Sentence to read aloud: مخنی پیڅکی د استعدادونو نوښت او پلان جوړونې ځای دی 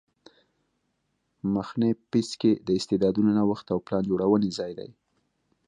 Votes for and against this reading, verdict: 2, 0, accepted